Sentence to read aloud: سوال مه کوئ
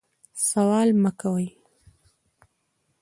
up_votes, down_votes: 0, 2